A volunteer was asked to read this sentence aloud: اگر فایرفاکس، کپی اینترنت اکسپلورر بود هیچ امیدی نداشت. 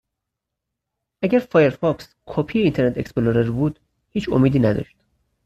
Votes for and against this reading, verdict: 0, 4, rejected